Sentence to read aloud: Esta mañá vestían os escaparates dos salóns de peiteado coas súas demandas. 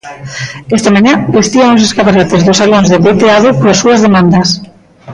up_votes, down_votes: 0, 2